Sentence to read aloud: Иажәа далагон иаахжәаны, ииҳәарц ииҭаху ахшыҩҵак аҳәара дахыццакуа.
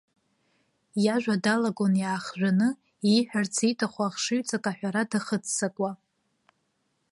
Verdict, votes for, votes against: accepted, 3, 0